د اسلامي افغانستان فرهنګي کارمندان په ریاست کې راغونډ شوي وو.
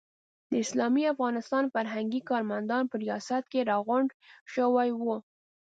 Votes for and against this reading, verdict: 1, 2, rejected